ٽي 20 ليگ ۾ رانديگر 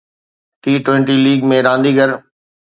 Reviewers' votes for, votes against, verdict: 0, 2, rejected